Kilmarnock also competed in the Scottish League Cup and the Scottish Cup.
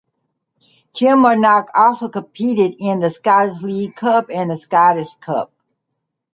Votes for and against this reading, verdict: 2, 0, accepted